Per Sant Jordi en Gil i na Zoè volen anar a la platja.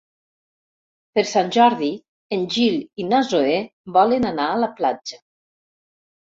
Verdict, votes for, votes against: rejected, 1, 2